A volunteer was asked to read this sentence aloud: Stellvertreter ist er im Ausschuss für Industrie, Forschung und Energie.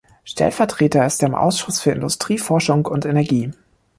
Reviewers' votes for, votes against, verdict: 2, 0, accepted